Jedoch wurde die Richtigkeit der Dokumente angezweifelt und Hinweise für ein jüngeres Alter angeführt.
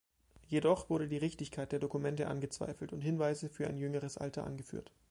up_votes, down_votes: 2, 0